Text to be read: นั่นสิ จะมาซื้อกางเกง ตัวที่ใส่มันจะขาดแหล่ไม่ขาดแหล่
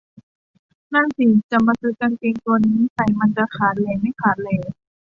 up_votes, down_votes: 0, 2